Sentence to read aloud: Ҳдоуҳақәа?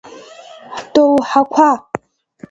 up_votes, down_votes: 2, 0